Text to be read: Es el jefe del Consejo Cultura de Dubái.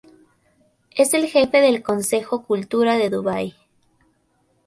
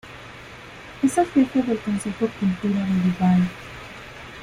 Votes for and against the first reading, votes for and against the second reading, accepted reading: 2, 0, 0, 2, first